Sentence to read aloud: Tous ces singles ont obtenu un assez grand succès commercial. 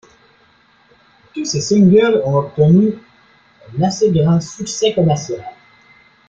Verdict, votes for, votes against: accepted, 2, 0